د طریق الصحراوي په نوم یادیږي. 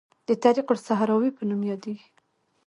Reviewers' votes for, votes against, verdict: 1, 2, rejected